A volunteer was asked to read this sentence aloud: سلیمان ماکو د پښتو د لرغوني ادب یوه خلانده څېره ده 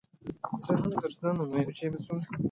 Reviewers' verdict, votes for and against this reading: rejected, 1, 2